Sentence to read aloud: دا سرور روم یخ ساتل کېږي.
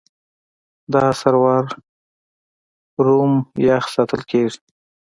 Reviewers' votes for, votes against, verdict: 2, 0, accepted